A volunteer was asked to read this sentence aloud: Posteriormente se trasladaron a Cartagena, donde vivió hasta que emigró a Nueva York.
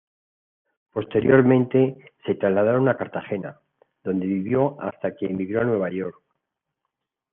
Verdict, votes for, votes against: accepted, 2, 0